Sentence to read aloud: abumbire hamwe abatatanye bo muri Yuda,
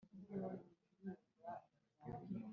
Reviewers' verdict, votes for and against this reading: rejected, 1, 2